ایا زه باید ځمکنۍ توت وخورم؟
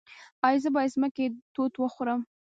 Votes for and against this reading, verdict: 0, 2, rejected